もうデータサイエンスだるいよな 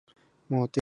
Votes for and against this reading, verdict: 0, 2, rejected